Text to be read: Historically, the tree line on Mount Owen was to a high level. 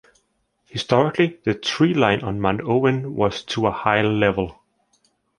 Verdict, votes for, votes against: accepted, 3, 0